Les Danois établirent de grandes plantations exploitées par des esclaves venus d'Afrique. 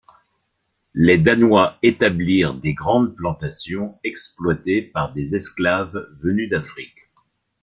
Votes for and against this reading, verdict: 1, 2, rejected